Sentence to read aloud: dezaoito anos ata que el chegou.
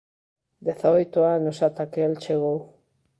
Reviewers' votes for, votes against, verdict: 2, 0, accepted